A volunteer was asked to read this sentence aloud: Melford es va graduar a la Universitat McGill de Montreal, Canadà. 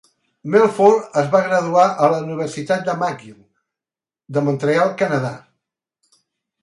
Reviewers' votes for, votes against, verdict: 0, 2, rejected